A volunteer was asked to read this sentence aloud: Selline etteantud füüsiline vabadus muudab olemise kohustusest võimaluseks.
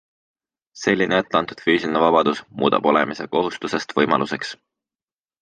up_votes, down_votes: 2, 0